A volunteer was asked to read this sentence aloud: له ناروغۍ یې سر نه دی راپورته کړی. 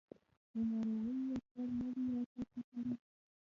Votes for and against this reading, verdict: 1, 2, rejected